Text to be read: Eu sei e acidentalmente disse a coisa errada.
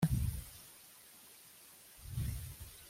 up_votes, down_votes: 0, 2